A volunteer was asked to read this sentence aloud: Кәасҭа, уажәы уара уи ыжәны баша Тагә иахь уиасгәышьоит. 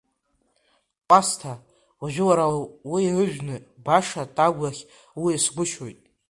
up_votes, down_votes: 2, 1